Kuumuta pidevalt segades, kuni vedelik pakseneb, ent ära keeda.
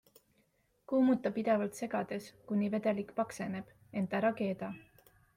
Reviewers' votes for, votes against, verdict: 2, 0, accepted